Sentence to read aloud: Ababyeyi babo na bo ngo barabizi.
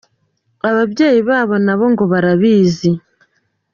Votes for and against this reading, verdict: 2, 0, accepted